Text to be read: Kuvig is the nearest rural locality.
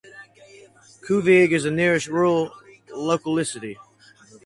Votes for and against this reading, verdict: 0, 4, rejected